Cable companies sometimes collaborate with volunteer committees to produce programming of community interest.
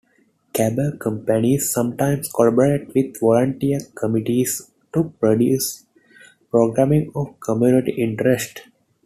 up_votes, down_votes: 1, 2